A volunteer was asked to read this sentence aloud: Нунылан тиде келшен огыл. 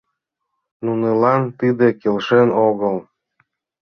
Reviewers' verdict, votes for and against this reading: accepted, 2, 0